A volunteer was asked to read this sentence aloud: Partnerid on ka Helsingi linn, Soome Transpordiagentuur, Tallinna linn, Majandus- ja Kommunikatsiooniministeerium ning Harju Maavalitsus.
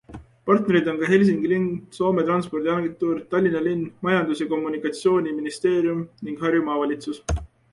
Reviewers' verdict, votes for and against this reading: accepted, 2, 0